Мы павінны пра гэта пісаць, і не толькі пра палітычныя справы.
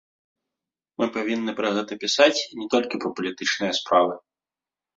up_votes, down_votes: 1, 2